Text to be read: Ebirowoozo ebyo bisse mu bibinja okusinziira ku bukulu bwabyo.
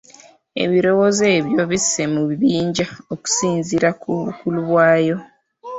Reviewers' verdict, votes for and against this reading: rejected, 1, 2